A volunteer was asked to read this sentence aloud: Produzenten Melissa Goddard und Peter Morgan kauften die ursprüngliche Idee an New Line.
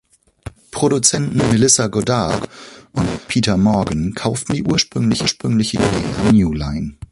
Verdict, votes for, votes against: rejected, 0, 2